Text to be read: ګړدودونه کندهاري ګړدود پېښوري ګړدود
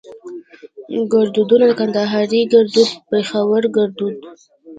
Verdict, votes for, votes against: rejected, 1, 2